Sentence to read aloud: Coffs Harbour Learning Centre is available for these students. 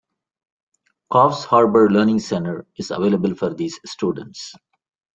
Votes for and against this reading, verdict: 2, 0, accepted